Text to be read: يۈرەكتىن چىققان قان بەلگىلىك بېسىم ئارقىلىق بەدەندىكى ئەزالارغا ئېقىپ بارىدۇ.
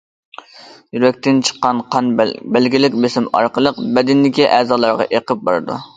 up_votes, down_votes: 1, 2